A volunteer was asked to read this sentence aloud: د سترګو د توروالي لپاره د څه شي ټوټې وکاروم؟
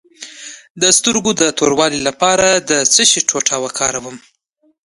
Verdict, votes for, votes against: accepted, 2, 1